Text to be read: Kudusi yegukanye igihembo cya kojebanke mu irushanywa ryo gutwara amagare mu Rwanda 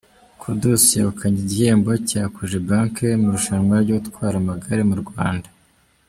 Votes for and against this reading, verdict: 2, 0, accepted